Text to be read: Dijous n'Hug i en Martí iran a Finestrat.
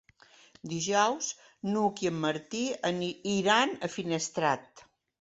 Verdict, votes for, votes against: rejected, 1, 2